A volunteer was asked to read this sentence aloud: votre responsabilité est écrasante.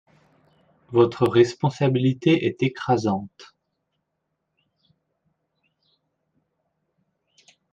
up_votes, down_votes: 2, 0